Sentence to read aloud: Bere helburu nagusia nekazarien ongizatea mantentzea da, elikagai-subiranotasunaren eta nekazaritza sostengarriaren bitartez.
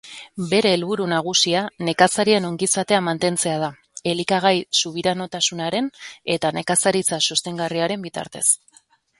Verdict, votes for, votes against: accepted, 2, 0